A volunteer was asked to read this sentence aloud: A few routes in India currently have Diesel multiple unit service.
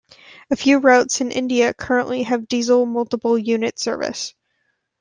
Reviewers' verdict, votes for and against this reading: accepted, 2, 0